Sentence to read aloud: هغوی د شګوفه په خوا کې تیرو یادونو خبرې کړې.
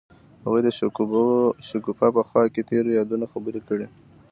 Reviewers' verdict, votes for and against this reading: accepted, 2, 0